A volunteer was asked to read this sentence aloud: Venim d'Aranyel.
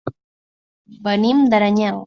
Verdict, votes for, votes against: accepted, 2, 0